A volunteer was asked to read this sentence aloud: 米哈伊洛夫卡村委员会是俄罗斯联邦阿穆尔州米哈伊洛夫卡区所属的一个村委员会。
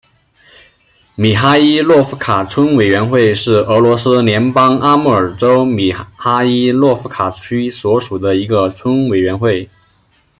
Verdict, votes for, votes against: accepted, 2, 0